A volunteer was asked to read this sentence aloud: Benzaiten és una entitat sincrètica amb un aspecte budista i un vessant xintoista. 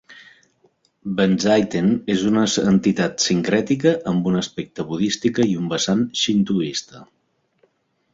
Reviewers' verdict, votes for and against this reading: rejected, 0, 2